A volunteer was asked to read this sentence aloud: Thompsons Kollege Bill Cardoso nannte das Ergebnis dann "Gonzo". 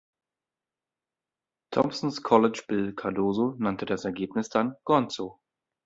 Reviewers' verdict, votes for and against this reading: rejected, 0, 2